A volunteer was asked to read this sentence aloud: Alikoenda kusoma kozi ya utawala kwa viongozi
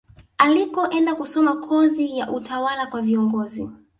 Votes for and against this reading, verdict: 2, 0, accepted